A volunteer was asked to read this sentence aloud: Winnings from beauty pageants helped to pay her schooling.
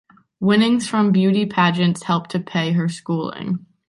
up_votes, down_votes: 2, 0